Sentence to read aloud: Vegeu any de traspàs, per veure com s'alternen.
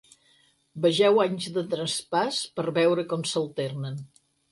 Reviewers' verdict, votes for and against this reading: rejected, 2, 4